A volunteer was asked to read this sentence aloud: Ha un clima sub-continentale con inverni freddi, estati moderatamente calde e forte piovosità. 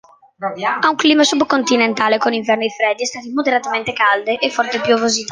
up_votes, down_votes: 0, 2